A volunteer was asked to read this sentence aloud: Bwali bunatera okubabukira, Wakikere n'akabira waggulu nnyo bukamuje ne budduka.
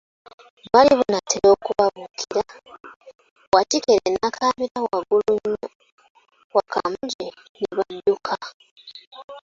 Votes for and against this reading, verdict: 0, 2, rejected